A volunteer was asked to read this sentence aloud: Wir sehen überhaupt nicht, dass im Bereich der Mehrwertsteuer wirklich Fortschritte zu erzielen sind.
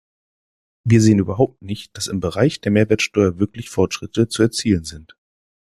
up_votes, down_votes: 2, 0